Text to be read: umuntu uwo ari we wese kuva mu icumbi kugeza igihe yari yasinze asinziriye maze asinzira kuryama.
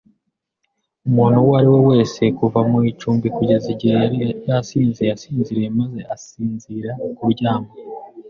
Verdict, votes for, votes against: accepted, 2, 0